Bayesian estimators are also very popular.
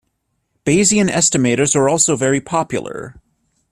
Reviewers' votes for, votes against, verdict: 2, 0, accepted